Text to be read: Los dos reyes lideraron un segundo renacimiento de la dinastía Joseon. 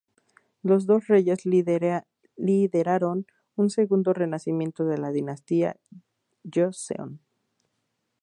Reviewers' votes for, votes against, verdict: 0, 2, rejected